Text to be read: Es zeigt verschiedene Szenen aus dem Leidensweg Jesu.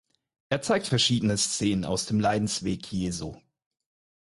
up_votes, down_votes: 0, 4